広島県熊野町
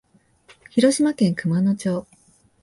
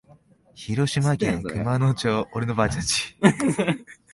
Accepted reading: first